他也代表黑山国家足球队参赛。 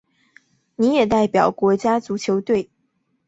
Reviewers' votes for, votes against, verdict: 0, 3, rejected